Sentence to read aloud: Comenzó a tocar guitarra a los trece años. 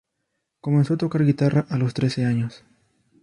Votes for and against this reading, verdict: 0, 2, rejected